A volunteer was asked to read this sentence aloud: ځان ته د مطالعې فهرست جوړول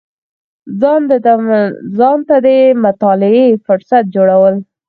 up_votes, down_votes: 0, 4